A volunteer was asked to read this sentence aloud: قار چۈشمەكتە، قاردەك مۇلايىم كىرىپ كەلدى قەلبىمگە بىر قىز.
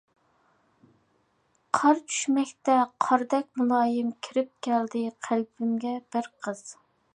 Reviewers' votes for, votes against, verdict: 2, 0, accepted